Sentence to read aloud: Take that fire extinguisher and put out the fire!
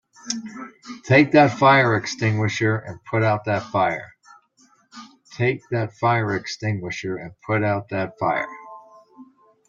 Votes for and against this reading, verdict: 0, 2, rejected